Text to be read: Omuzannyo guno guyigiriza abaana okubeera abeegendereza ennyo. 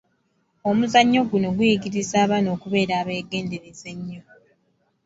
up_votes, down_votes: 2, 0